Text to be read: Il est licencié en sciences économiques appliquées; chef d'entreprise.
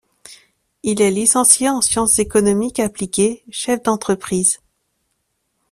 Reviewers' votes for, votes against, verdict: 2, 0, accepted